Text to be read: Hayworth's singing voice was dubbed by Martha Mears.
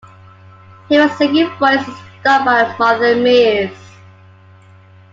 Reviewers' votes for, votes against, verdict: 2, 0, accepted